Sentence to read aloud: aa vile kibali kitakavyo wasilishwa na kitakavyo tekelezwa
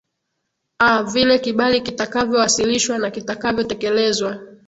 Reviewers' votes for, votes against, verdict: 2, 0, accepted